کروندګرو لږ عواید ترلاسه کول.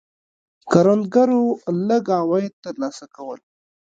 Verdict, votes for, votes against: accepted, 2, 0